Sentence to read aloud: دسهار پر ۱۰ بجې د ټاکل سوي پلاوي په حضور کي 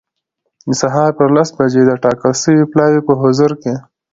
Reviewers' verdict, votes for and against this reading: rejected, 0, 2